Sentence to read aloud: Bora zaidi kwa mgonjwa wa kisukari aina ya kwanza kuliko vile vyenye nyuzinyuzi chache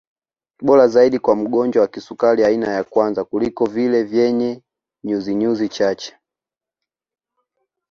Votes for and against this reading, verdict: 2, 1, accepted